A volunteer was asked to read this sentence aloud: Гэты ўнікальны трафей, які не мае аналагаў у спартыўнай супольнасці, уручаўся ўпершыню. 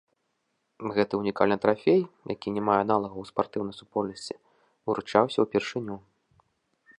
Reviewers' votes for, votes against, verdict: 2, 0, accepted